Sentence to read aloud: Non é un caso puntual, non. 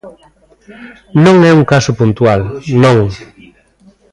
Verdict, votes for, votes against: rejected, 0, 2